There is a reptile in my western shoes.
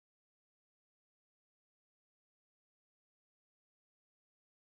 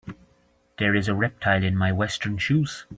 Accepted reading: second